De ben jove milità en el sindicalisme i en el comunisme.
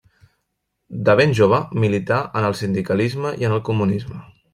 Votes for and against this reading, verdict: 3, 0, accepted